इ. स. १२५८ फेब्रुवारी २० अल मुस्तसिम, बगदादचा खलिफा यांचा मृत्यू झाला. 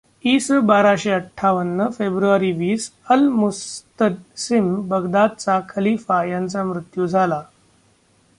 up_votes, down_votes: 0, 2